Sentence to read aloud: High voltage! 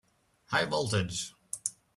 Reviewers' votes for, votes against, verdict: 2, 0, accepted